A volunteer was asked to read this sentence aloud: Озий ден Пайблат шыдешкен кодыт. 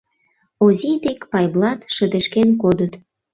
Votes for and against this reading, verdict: 1, 2, rejected